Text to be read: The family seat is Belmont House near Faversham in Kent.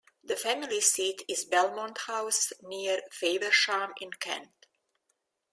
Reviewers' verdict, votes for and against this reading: accepted, 2, 0